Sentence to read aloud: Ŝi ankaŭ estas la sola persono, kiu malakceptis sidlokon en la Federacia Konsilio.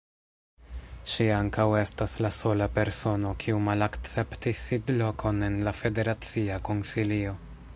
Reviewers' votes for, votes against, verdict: 1, 2, rejected